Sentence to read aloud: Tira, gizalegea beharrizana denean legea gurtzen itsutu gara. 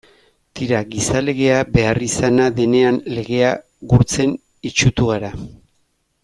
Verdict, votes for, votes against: rejected, 1, 2